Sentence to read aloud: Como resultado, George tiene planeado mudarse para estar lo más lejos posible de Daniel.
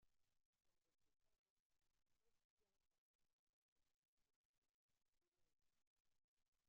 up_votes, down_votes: 0, 2